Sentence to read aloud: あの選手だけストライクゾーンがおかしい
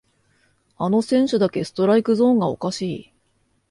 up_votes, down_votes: 2, 0